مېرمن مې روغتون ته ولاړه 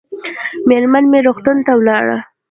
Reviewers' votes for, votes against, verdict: 1, 2, rejected